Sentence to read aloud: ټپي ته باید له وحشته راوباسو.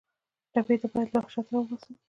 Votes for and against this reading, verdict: 2, 1, accepted